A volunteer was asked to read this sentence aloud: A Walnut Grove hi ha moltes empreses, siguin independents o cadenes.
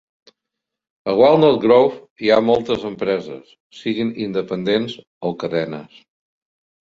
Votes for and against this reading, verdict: 1, 2, rejected